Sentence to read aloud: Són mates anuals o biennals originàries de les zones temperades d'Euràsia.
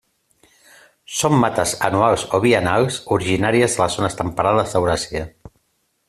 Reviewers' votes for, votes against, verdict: 2, 1, accepted